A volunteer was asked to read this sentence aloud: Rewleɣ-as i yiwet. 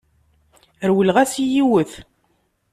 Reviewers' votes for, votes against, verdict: 2, 0, accepted